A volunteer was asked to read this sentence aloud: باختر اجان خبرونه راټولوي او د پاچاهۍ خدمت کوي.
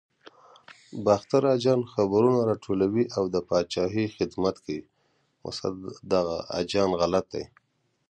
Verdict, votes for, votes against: rejected, 0, 2